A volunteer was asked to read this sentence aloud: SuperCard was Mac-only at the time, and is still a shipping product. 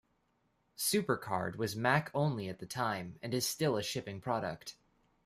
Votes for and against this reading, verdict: 2, 0, accepted